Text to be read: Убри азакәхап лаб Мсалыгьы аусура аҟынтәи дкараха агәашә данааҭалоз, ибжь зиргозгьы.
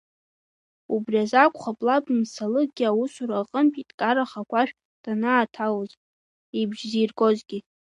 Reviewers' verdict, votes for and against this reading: accepted, 2, 1